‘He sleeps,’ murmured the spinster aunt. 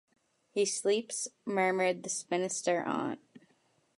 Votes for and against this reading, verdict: 0, 2, rejected